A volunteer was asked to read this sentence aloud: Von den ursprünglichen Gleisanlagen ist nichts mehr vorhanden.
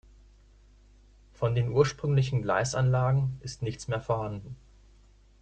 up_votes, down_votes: 2, 0